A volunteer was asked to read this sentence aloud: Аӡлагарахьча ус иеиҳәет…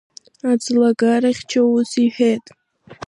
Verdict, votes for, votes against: rejected, 1, 2